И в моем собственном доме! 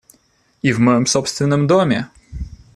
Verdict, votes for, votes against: accepted, 2, 0